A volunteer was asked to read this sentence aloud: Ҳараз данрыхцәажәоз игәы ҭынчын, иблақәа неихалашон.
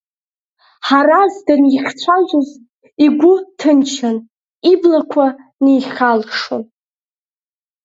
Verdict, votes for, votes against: rejected, 0, 2